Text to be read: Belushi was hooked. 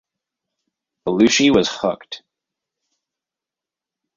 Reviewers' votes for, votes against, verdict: 2, 2, rejected